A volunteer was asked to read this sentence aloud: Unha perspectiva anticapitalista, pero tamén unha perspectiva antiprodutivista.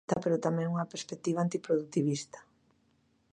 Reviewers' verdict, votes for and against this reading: rejected, 0, 2